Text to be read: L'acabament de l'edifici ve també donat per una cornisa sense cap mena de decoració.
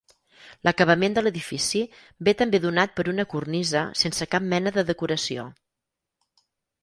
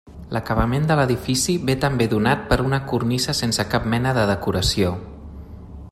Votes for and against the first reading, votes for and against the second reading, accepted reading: 2, 4, 3, 0, second